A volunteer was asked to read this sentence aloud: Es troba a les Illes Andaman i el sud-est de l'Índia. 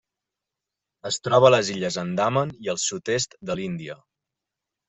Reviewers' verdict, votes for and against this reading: accepted, 2, 0